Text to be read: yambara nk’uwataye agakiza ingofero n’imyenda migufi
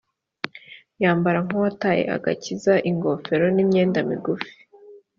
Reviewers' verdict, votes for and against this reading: accepted, 2, 0